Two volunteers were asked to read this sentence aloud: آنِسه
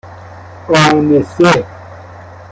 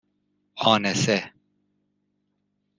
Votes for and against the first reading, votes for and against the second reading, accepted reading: 0, 2, 2, 0, second